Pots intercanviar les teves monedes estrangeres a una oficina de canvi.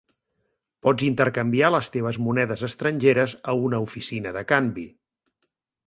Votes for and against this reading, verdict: 4, 0, accepted